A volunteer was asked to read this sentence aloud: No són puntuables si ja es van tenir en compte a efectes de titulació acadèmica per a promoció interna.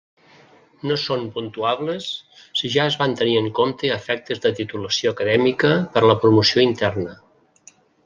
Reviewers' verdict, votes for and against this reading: rejected, 0, 2